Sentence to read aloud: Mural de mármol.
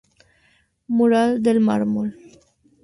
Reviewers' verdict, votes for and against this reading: rejected, 0, 2